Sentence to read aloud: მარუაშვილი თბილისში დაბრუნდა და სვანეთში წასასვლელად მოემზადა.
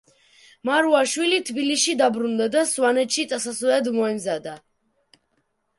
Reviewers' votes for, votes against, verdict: 0, 2, rejected